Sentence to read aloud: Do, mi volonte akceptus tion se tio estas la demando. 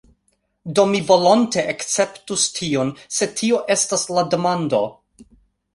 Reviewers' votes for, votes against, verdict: 1, 2, rejected